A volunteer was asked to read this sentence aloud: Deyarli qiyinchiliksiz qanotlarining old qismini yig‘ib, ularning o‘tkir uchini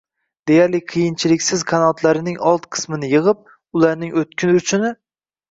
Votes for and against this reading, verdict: 1, 2, rejected